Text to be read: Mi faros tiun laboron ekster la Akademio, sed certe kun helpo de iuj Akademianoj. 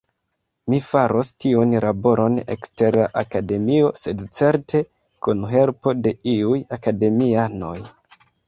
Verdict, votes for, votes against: rejected, 0, 2